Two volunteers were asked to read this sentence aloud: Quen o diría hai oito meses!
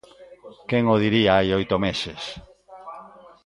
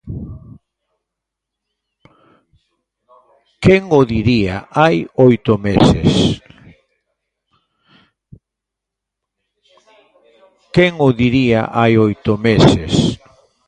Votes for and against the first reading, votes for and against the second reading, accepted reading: 2, 0, 0, 2, first